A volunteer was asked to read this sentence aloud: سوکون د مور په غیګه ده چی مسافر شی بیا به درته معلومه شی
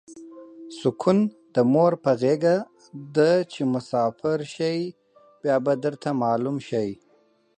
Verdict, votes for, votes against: accepted, 4, 0